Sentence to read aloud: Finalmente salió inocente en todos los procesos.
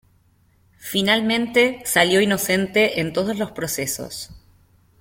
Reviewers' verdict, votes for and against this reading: accepted, 2, 0